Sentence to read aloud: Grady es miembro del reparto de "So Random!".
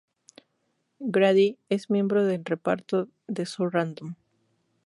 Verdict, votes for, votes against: accepted, 2, 0